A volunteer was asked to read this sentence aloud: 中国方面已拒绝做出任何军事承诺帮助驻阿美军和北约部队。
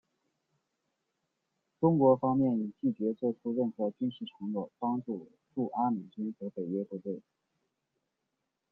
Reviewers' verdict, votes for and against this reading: accepted, 2, 1